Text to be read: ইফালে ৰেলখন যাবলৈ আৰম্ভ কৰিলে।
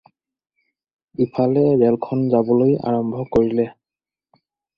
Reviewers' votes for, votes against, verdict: 4, 0, accepted